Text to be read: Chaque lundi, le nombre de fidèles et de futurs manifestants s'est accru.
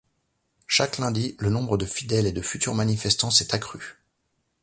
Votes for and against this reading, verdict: 2, 0, accepted